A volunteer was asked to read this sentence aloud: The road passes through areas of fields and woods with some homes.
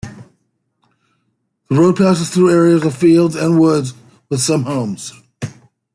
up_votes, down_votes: 1, 2